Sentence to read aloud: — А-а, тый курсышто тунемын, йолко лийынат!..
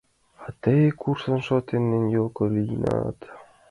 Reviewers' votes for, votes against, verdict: 1, 2, rejected